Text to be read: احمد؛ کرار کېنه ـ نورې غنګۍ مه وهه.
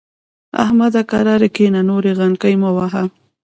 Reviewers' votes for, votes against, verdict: 0, 2, rejected